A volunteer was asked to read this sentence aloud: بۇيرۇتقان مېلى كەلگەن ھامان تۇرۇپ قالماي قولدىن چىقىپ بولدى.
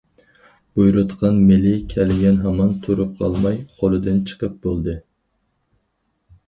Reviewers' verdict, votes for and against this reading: rejected, 0, 4